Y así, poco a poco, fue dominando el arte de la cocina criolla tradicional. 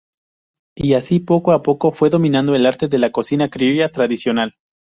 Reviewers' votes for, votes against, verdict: 6, 0, accepted